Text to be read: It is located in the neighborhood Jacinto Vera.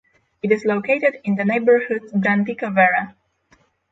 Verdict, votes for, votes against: accepted, 6, 0